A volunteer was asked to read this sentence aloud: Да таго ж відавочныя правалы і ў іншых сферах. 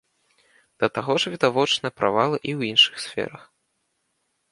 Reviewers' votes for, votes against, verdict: 2, 0, accepted